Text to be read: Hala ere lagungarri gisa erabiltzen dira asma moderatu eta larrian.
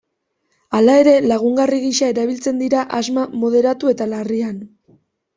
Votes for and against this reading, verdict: 2, 0, accepted